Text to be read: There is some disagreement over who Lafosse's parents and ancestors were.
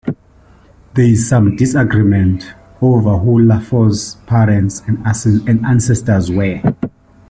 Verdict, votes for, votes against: rejected, 0, 2